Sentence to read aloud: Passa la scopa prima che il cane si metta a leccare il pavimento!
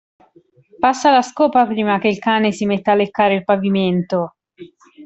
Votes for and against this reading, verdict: 2, 0, accepted